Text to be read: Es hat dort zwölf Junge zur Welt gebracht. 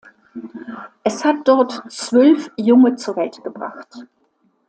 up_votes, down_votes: 2, 0